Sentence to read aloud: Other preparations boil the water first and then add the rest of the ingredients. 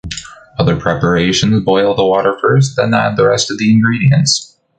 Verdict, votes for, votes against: rejected, 1, 2